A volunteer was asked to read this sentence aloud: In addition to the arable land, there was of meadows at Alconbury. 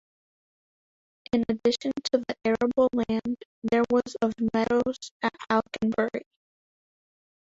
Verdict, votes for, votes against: accepted, 3, 1